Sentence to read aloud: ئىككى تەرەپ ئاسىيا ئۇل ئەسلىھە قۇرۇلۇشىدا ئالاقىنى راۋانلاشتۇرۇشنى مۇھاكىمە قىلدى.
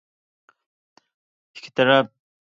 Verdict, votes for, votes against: rejected, 0, 2